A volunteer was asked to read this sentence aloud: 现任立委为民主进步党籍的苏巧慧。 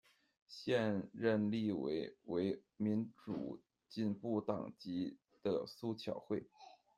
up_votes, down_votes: 1, 2